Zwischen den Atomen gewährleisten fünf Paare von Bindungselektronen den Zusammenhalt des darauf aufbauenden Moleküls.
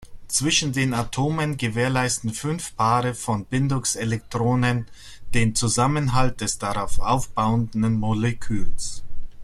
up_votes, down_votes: 0, 2